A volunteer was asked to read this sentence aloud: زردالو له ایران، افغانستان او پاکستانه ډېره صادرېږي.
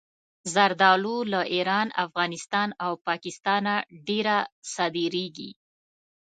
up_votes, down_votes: 3, 0